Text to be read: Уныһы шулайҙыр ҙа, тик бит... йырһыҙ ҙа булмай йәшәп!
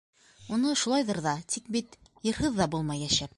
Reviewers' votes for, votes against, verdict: 1, 2, rejected